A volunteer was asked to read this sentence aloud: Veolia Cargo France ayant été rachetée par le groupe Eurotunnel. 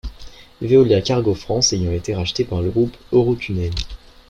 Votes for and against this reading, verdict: 2, 0, accepted